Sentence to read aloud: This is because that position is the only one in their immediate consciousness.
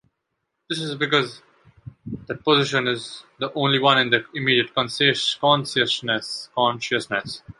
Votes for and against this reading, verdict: 0, 2, rejected